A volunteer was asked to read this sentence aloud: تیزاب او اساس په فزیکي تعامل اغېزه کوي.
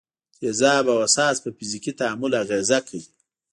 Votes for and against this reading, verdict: 3, 0, accepted